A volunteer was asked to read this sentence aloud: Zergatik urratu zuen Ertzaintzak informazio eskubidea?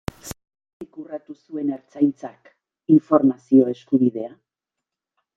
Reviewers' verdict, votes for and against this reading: rejected, 0, 2